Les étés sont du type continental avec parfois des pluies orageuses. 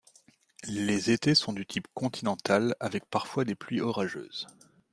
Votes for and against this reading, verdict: 2, 0, accepted